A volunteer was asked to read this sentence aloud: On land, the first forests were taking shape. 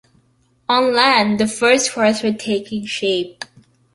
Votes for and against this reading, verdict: 2, 0, accepted